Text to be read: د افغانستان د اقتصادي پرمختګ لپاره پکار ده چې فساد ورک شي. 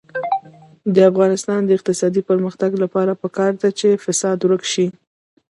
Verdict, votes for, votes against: rejected, 0, 2